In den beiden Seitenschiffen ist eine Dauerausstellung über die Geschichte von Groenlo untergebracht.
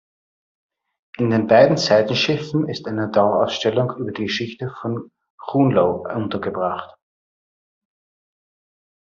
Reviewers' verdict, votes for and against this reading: rejected, 1, 2